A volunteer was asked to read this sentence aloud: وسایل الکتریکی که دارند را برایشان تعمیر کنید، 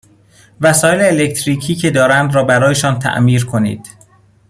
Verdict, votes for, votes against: accepted, 2, 1